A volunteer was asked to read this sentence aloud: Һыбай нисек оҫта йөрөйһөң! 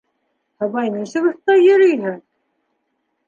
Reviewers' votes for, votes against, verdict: 0, 2, rejected